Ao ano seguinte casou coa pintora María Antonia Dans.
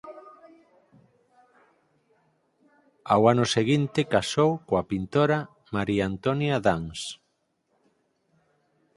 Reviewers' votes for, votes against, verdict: 6, 0, accepted